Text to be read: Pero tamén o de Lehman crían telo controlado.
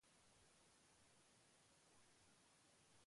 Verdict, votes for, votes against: rejected, 0, 2